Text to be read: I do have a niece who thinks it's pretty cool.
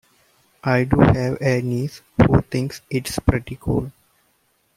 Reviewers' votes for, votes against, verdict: 1, 2, rejected